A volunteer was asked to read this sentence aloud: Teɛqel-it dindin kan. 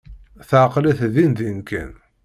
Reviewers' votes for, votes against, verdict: 2, 0, accepted